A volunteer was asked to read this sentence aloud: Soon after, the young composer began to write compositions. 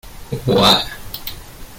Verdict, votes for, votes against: rejected, 0, 2